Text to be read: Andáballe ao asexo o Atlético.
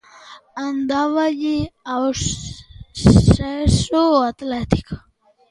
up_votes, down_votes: 0, 2